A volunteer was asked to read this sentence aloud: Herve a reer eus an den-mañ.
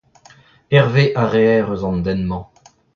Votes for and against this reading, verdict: 1, 2, rejected